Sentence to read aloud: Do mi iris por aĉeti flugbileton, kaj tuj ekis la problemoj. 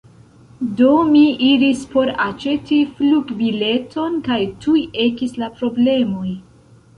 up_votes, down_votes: 2, 0